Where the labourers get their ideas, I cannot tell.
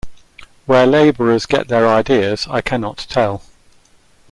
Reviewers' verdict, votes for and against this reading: rejected, 0, 2